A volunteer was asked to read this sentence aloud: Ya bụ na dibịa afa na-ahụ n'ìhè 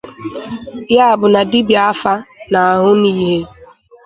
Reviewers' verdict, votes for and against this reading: accepted, 2, 0